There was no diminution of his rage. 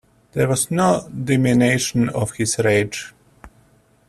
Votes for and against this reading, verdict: 0, 2, rejected